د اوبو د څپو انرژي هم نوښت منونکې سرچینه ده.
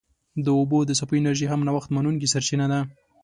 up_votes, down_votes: 2, 0